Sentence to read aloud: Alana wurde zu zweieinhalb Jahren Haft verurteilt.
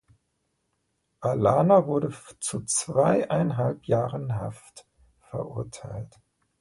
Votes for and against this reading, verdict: 1, 2, rejected